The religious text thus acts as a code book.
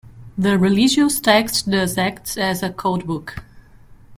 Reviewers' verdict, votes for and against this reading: rejected, 1, 2